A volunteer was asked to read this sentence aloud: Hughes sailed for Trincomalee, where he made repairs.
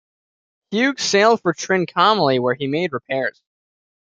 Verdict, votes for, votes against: rejected, 1, 2